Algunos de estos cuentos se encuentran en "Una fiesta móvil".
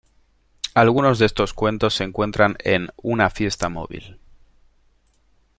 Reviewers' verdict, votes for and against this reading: accepted, 2, 0